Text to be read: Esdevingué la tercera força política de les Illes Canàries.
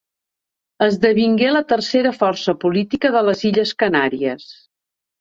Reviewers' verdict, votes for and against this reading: accepted, 2, 0